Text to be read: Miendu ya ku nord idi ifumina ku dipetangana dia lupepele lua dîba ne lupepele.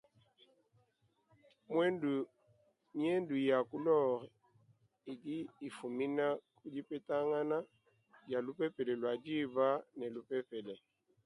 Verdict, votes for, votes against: accepted, 2, 1